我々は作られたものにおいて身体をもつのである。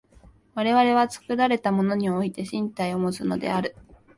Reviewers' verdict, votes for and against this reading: accepted, 5, 0